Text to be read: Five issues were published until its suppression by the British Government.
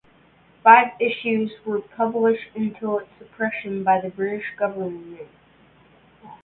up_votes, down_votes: 0, 2